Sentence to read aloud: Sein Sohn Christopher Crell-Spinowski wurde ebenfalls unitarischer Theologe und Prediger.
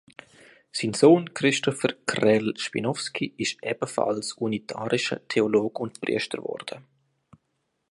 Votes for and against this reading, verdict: 0, 2, rejected